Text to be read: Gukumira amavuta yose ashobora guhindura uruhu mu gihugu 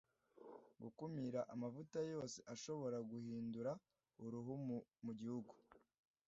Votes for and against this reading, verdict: 0, 2, rejected